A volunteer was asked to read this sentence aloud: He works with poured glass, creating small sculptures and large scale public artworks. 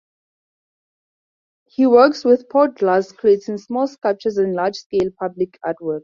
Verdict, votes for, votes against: rejected, 2, 2